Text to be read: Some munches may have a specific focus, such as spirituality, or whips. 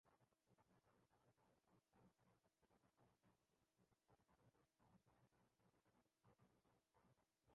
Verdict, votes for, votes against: rejected, 0, 2